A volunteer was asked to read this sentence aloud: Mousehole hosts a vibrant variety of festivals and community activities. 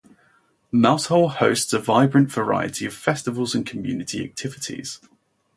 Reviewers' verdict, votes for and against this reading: rejected, 0, 2